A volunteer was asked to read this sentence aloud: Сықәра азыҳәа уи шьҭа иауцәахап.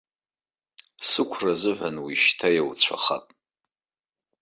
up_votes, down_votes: 3, 0